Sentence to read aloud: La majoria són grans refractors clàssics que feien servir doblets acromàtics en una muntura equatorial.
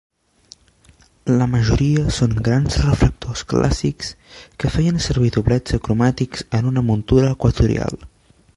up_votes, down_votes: 1, 2